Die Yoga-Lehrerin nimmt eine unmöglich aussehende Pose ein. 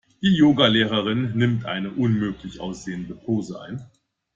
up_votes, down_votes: 2, 0